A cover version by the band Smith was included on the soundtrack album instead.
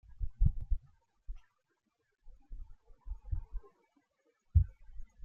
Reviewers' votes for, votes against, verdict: 0, 2, rejected